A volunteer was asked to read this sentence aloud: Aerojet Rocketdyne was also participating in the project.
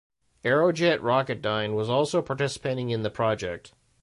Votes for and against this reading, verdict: 2, 0, accepted